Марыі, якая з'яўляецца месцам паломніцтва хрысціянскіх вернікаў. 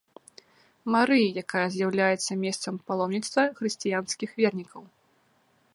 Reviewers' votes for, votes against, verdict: 2, 1, accepted